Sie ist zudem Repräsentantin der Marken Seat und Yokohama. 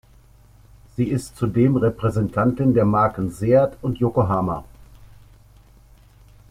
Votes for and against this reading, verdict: 2, 0, accepted